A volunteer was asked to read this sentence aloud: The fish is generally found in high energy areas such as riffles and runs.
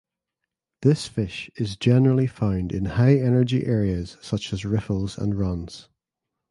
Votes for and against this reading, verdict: 1, 2, rejected